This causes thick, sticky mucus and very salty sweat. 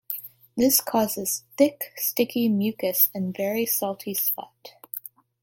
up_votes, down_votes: 0, 2